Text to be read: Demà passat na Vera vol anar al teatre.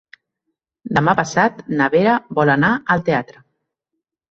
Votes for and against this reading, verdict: 3, 0, accepted